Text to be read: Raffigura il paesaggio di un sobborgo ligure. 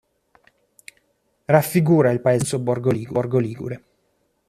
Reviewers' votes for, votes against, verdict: 0, 3, rejected